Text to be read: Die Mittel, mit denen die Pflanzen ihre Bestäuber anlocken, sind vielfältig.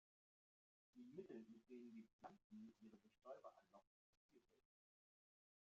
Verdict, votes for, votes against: rejected, 0, 2